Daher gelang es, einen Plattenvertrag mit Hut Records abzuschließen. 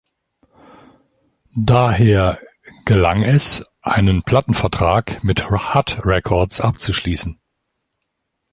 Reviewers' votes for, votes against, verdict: 1, 2, rejected